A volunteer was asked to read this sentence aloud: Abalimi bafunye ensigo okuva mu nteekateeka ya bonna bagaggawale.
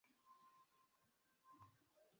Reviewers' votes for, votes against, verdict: 0, 2, rejected